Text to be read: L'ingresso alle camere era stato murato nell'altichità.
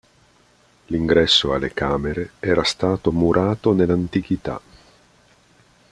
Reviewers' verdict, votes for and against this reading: rejected, 1, 2